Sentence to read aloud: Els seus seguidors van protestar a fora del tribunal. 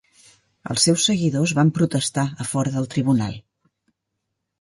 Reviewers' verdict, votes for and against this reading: accepted, 4, 0